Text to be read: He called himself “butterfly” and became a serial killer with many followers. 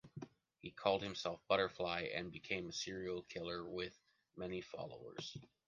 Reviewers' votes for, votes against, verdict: 1, 2, rejected